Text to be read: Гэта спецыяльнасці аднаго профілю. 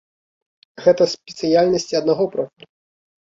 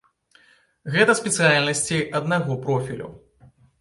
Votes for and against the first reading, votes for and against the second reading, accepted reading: 0, 2, 2, 0, second